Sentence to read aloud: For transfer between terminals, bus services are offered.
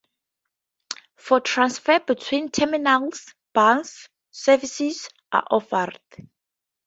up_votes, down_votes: 2, 2